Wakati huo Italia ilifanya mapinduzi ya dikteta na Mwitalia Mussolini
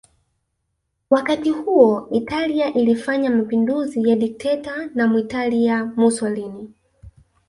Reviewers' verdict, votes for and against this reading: accepted, 2, 1